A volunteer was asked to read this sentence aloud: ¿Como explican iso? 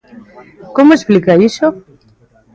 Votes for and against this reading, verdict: 1, 2, rejected